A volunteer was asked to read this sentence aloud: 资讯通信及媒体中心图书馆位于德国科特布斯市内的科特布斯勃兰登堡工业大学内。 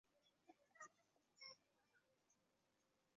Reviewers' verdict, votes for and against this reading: rejected, 0, 2